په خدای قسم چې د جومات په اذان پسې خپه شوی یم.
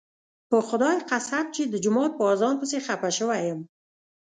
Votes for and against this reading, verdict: 2, 0, accepted